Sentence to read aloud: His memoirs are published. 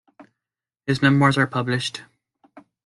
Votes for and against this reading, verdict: 0, 2, rejected